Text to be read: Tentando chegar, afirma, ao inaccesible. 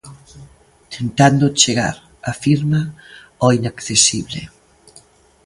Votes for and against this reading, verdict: 3, 0, accepted